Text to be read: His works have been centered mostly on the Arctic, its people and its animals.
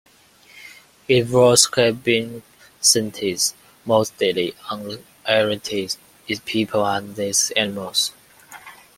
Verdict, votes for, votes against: rejected, 0, 2